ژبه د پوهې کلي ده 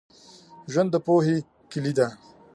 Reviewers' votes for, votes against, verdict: 1, 2, rejected